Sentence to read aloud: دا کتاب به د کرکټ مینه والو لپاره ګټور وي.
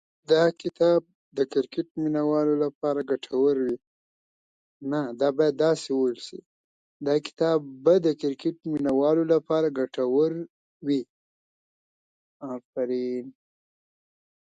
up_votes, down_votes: 0, 2